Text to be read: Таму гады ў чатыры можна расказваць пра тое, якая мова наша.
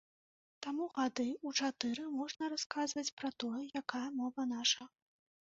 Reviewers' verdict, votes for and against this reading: accepted, 2, 0